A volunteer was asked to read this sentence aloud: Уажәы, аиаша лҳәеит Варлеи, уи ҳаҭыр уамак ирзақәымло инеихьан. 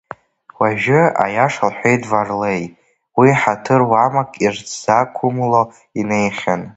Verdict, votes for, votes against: rejected, 0, 2